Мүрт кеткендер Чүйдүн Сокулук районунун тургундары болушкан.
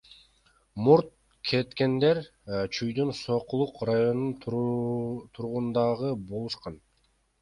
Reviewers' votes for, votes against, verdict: 0, 2, rejected